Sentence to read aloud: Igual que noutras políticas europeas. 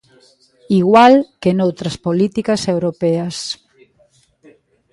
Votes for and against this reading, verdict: 2, 1, accepted